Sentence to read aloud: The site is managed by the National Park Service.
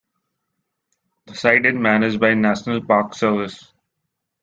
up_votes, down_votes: 2, 3